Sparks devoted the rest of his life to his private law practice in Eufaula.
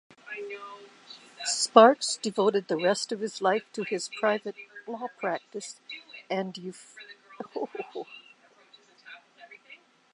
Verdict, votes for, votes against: rejected, 0, 2